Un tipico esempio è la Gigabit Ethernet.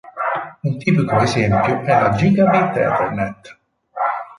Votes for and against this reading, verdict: 0, 2, rejected